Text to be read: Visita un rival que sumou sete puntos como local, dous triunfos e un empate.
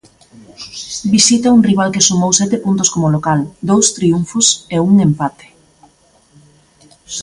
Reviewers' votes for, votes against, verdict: 2, 0, accepted